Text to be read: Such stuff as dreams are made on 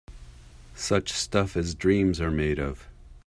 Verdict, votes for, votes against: accepted, 2, 1